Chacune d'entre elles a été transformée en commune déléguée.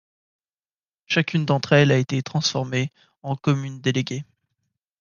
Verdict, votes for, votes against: accepted, 2, 0